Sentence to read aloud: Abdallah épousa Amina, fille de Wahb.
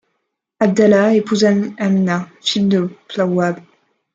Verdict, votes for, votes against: rejected, 0, 2